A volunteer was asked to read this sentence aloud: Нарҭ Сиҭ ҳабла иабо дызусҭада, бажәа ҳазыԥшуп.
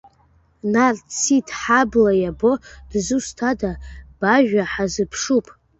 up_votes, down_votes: 2, 0